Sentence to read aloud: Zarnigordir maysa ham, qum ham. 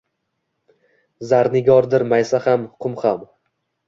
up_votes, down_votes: 2, 0